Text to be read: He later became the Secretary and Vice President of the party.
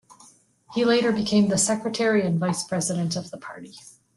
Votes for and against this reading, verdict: 2, 0, accepted